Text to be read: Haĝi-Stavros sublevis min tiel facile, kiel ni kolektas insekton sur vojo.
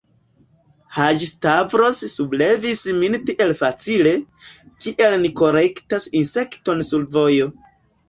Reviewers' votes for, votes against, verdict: 2, 0, accepted